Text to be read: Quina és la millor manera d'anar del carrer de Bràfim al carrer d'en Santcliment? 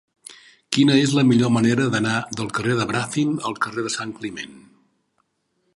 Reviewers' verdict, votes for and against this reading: rejected, 0, 2